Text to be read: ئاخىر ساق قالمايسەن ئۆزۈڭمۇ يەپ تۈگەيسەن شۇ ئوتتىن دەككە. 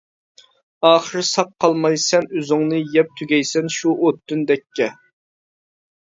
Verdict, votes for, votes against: rejected, 0, 2